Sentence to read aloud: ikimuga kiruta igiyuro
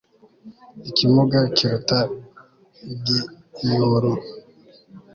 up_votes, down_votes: 1, 2